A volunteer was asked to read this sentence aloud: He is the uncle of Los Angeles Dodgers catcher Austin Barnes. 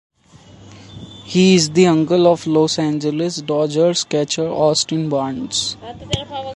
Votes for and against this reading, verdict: 2, 1, accepted